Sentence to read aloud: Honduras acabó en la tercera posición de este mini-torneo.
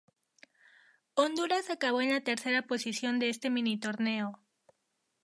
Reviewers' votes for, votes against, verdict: 2, 0, accepted